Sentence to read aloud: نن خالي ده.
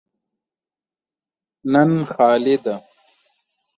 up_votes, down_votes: 2, 0